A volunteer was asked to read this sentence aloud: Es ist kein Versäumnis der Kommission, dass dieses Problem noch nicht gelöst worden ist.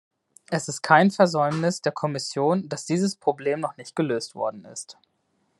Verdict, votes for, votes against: accepted, 2, 0